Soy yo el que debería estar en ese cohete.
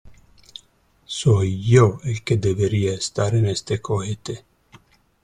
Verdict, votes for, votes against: rejected, 2, 3